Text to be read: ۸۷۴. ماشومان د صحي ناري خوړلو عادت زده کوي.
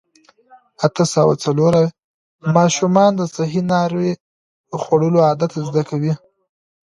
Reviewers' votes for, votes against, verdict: 0, 2, rejected